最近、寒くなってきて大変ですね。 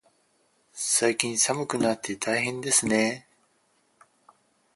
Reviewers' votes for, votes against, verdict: 2, 6, rejected